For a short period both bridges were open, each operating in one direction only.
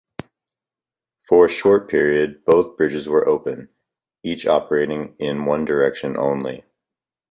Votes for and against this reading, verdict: 2, 0, accepted